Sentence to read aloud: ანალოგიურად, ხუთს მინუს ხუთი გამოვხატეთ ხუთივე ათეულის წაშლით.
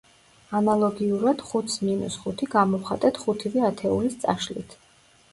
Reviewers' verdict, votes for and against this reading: accepted, 2, 0